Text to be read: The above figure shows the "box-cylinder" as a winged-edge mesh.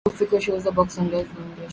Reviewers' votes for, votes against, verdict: 0, 2, rejected